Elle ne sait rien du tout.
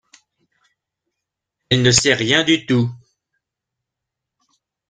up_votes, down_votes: 2, 1